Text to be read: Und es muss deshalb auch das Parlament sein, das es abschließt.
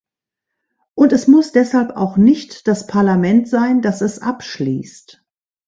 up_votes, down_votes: 0, 2